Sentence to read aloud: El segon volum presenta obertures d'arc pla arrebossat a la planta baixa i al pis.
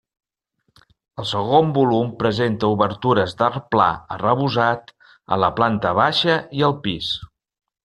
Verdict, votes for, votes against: rejected, 0, 2